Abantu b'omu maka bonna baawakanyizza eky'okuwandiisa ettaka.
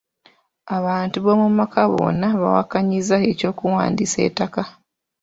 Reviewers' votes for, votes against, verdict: 2, 0, accepted